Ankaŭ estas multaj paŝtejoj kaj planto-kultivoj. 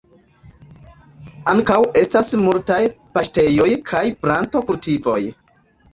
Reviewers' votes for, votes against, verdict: 0, 2, rejected